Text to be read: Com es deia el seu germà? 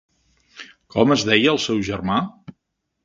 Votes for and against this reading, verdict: 4, 0, accepted